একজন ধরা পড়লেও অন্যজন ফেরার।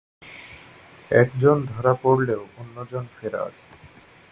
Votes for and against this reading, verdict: 2, 0, accepted